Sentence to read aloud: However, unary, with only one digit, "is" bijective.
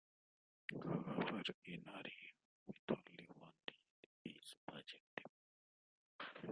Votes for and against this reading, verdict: 1, 3, rejected